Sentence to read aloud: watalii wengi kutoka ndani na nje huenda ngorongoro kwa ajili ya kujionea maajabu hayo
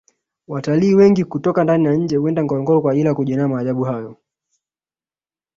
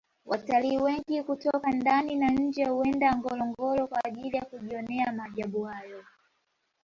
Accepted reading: first